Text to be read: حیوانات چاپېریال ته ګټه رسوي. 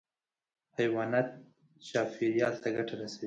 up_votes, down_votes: 2, 0